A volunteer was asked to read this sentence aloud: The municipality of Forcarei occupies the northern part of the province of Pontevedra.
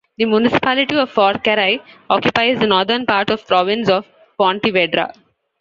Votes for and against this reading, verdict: 0, 2, rejected